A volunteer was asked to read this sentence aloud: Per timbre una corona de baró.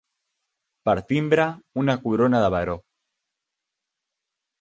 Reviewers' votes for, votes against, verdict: 3, 0, accepted